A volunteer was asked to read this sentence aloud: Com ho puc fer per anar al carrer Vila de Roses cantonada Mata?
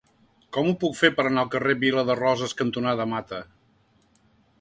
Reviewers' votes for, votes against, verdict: 2, 0, accepted